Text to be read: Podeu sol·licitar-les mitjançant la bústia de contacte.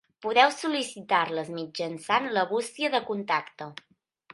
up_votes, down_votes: 2, 0